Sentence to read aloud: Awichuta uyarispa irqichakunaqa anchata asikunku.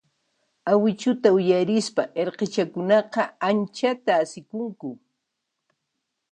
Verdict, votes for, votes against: accepted, 2, 0